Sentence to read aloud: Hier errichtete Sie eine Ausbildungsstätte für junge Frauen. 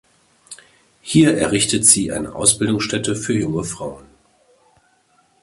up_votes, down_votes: 0, 2